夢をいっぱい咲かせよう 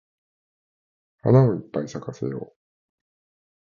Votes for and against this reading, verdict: 0, 2, rejected